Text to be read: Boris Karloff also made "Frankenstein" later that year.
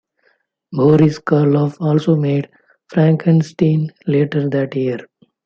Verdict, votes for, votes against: rejected, 0, 2